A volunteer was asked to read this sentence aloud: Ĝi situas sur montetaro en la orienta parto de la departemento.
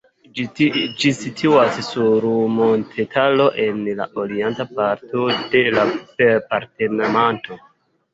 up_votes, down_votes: 2, 0